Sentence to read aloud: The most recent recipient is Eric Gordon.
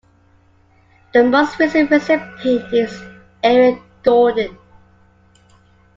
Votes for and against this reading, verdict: 0, 2, rejected